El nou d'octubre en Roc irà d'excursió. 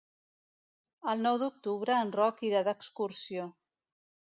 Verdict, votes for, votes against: accepted, 2, 0